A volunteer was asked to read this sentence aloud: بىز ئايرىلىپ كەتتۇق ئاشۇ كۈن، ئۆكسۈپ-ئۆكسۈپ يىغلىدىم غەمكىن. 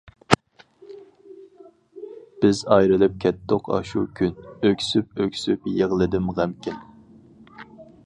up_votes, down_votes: 4, 0